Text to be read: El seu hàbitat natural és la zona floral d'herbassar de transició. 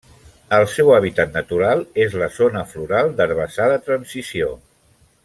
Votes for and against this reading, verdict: 0, 2, rejected